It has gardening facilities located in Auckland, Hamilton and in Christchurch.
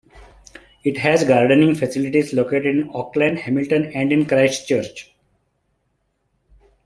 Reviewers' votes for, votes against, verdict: 2, 1, accepted